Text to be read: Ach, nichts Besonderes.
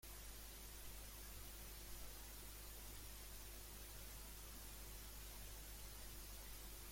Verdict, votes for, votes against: rejected, 0, 2